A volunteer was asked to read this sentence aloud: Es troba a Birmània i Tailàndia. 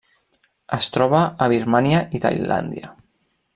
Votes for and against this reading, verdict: 2, 0, accepted